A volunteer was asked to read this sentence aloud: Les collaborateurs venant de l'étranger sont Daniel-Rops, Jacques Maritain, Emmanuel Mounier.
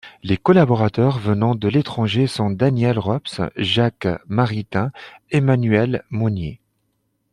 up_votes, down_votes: 2, 0